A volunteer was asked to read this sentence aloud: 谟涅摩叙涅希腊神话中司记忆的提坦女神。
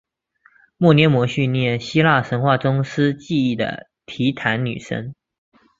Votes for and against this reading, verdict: 4, 0, accepted